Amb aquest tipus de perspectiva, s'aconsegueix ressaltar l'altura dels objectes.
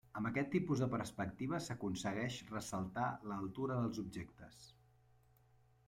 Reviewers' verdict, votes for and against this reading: rejected, 0, 2